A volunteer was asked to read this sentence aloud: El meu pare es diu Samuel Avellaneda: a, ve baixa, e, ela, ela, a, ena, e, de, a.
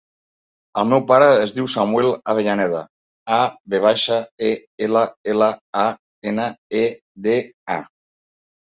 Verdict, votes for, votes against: accepted, 3, 0